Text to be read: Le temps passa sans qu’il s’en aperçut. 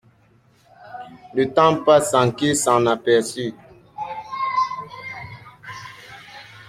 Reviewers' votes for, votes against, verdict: 0, 2, rejected